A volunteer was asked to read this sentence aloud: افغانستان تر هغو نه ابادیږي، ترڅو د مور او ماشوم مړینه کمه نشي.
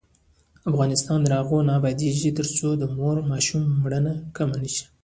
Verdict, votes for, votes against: rejected, 1, 2